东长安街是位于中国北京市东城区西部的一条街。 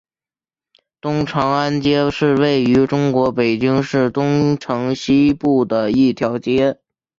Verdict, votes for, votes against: rejected, 1, 2